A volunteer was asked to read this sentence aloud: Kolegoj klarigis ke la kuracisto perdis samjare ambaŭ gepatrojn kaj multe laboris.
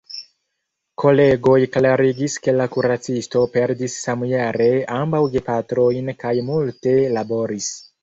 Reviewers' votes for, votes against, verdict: 0, 2, rejected